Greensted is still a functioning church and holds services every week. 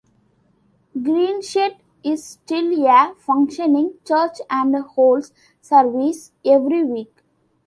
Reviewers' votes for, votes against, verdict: 0, 2, rejected